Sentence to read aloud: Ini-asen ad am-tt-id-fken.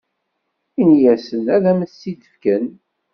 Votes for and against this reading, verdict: 2, 0, accepted